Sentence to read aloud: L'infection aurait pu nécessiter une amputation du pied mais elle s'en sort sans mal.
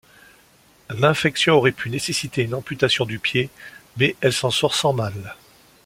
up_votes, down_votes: 2, 0